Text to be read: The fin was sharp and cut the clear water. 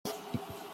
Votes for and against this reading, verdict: 0, 2, rejected